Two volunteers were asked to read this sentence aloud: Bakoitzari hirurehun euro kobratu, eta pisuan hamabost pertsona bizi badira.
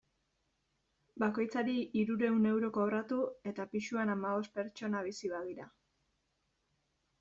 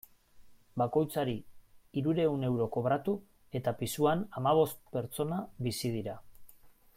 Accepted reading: first